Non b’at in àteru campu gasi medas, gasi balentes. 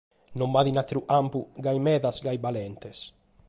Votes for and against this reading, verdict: 2, 0, accepted